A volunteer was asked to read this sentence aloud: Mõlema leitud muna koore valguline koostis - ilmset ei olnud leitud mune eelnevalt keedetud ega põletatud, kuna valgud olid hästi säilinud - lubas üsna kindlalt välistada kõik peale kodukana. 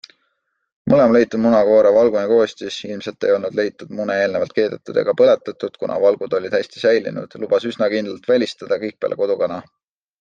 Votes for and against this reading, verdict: 2, 0, accepted